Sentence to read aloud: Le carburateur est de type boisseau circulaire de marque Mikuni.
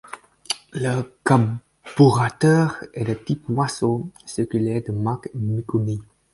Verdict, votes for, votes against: accepted, 4, 0